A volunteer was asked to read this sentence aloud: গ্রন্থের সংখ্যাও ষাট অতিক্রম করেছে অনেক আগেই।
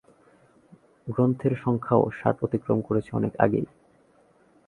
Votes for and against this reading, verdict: 2, 0, accepted